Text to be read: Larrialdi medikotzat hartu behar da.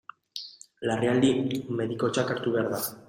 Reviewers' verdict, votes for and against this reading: rejected, 0, 2